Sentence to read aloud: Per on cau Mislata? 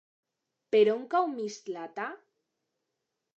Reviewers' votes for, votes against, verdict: 2, 0, accepted